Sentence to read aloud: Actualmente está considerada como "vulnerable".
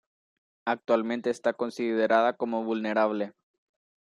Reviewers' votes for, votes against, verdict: 2, 1, accepted